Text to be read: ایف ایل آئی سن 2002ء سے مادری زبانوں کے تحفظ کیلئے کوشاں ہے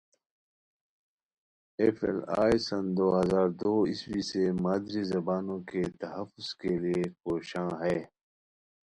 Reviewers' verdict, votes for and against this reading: rejected, 0, 2